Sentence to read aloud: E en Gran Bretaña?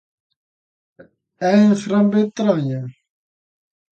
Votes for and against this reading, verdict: 0, 2, rejected